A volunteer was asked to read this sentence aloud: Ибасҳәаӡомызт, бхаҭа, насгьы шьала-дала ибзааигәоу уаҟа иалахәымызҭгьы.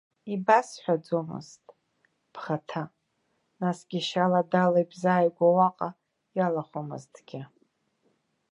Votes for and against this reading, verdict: 1, 2, rejected